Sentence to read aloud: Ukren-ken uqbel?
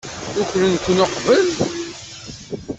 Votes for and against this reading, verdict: 0, 2, rejected